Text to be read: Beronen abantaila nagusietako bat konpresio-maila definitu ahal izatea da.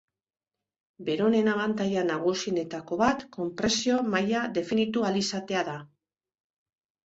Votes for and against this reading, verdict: 1, 3, rejected